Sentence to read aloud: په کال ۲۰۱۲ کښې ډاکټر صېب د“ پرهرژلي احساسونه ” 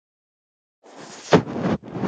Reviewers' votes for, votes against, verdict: 0, 2, rejected